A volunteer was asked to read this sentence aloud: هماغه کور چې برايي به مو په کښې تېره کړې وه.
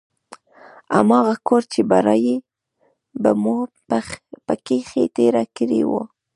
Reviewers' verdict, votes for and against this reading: rejected, 1, 2